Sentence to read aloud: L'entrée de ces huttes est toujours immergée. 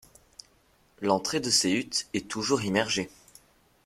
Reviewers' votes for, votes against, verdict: 1, 2, rejected